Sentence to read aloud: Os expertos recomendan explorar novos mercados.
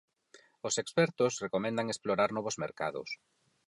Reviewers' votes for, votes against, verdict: 4, 0, accepted